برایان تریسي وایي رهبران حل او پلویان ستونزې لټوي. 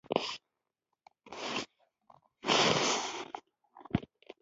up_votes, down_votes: 1, 2